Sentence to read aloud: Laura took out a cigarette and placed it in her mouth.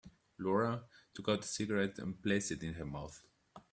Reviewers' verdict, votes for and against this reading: accepted, 3, 1